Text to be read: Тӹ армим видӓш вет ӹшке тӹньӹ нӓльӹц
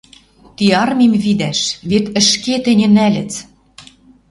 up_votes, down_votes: 0, 2